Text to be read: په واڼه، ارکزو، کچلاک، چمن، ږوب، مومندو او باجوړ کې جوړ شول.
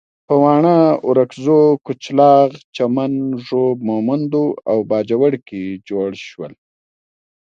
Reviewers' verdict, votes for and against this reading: rejected, 1, 2